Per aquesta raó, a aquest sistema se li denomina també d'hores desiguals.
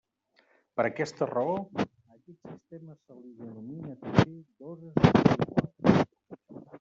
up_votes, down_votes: 0, 2